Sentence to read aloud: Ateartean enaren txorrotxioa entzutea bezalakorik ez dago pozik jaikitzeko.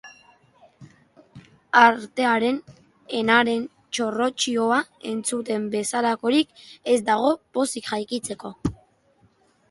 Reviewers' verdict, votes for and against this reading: rejected, 1, 3